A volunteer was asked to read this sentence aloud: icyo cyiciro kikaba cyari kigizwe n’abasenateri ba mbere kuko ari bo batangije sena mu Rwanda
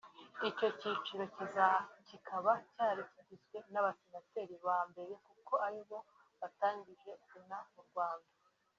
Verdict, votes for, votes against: rejected, 1, 2